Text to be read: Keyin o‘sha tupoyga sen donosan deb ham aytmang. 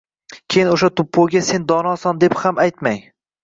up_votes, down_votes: 2, 1